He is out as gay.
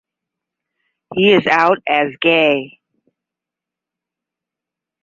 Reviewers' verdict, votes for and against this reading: rejected, 5, 5